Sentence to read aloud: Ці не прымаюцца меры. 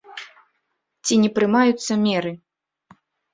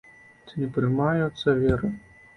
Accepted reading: first